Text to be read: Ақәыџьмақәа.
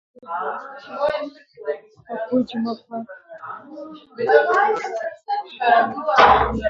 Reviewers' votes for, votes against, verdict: 0, 2, rejected